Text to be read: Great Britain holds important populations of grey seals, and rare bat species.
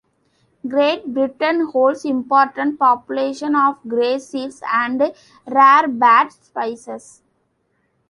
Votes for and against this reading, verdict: 1, 2, rejected